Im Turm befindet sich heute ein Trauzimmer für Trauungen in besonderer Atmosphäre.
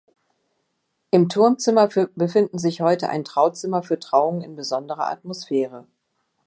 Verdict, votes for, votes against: rejected, 0, 3